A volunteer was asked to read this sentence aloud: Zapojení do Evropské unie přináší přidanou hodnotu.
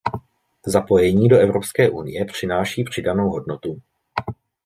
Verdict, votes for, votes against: accepted, 2, 0